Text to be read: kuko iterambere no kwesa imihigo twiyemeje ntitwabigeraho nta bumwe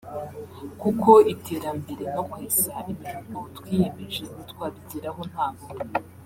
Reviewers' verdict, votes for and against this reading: accepted, 2, 0